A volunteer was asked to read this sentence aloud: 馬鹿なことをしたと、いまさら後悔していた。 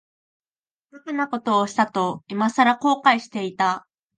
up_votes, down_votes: 2, 0